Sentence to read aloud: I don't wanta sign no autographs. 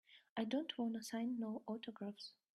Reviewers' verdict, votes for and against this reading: accepted, 3, 0